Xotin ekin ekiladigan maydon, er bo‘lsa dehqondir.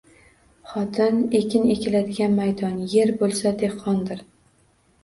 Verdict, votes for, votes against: accepted, 2, 0